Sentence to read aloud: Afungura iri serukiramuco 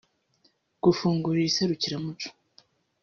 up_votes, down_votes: 0, 2